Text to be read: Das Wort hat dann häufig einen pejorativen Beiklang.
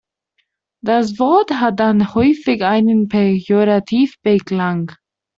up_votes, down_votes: 0, 2